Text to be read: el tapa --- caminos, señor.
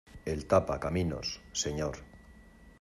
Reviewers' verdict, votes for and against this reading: accepted, 2, 0